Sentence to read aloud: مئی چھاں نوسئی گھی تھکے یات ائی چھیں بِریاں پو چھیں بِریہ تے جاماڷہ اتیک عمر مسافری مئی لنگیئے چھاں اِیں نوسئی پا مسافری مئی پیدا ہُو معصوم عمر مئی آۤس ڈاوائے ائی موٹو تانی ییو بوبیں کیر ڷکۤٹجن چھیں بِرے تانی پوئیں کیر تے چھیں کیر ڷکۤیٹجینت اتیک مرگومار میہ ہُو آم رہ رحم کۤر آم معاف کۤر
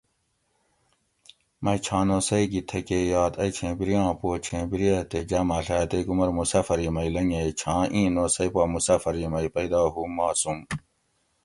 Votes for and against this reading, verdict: 0, 2, rejected